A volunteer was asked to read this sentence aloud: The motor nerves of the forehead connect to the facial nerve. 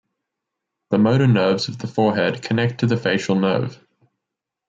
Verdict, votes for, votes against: accepted, 3, 0